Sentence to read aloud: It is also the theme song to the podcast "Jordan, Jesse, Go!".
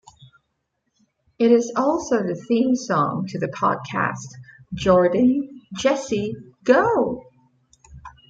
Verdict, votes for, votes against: accepted, 2, 0